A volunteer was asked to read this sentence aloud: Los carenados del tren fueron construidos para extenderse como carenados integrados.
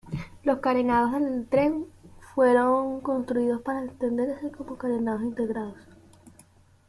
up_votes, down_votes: 2, 0